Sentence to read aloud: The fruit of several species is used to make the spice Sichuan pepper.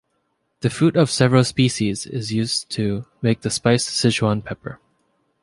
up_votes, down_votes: 2, 0